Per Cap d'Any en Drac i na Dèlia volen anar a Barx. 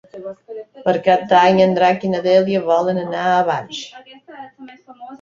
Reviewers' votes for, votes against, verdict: 2, 0, accepted